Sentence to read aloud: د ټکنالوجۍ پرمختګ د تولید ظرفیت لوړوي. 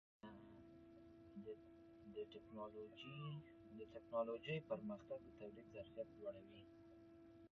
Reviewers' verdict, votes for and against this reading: rejected, 0, 2